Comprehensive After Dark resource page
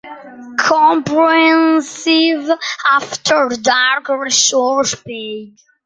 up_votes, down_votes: 2, 1